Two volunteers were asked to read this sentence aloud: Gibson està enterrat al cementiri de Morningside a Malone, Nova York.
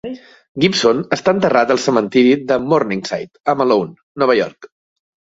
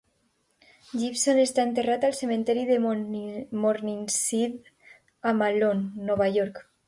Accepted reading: first